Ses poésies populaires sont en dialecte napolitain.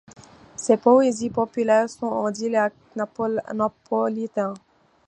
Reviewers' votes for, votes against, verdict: 1, 2, rejected